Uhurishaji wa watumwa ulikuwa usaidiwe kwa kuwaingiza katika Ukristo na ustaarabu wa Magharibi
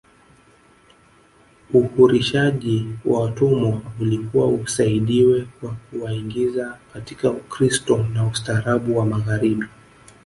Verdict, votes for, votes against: rejected, 1, 2